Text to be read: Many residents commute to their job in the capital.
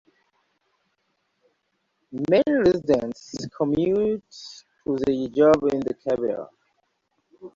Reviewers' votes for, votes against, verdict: 2, 1, accepted